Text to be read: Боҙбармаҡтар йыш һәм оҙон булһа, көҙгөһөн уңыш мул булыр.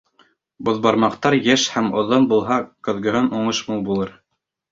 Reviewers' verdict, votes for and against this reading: rejected, 0, 2